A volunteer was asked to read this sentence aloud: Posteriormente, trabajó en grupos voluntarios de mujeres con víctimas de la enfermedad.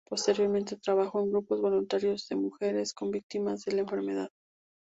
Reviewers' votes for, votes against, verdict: 2, 0, accepted